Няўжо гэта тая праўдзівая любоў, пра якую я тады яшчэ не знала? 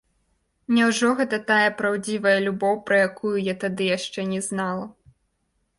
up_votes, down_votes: 2, 0